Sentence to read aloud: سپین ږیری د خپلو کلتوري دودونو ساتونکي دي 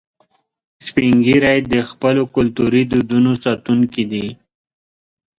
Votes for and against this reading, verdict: 2, 0, accepted